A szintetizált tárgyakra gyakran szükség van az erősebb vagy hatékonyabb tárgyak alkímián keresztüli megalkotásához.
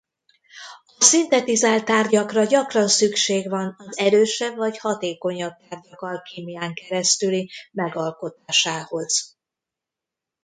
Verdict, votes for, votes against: rejected, 2, 3